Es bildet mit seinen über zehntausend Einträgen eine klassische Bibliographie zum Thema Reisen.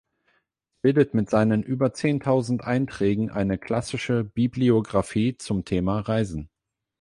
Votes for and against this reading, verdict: 0, 8, rejected